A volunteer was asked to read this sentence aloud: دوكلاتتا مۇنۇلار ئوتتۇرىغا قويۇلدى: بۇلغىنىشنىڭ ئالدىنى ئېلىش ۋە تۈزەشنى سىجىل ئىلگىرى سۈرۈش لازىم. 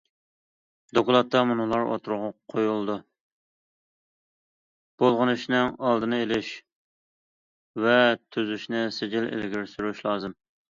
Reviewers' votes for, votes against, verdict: 0, 2, rejected